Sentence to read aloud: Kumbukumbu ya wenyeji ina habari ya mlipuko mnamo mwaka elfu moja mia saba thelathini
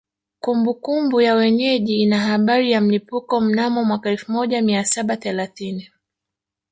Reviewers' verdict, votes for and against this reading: accepted, 2, 1